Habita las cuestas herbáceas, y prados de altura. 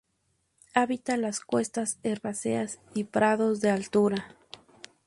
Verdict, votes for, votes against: accepted, 6, 0